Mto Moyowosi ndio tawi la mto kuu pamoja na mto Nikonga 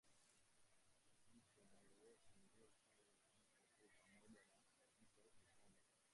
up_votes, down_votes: 0, 2